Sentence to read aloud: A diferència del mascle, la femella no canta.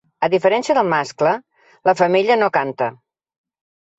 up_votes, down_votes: 2, 0